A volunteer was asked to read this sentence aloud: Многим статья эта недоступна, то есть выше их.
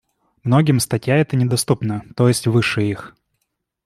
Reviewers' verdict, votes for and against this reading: accepted, 2, 1